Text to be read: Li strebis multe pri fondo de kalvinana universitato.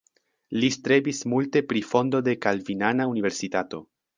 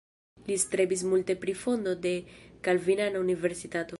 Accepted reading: first